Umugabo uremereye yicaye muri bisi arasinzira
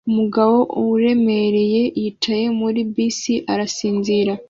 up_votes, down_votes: 2, 0